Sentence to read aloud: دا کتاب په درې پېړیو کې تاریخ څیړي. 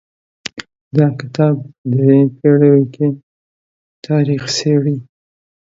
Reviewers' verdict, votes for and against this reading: accepted, 4, 0